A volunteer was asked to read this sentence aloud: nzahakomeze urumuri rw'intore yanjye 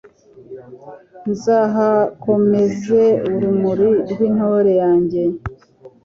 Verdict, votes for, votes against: accepted, 3, 0